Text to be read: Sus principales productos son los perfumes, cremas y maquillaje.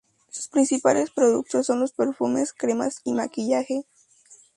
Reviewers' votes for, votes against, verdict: 2, 0, accepted